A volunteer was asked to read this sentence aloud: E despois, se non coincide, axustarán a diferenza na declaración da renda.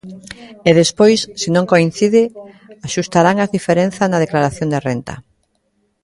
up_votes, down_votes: 1, 2